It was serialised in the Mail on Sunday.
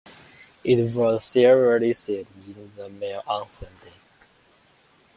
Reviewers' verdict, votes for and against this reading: accepted, 2, 0